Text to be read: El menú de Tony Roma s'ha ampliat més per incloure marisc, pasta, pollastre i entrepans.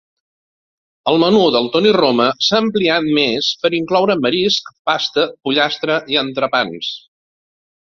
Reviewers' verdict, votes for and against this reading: rejected, 1, 2